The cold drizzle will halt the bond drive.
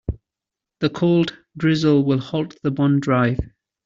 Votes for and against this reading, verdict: 2, 0, accepted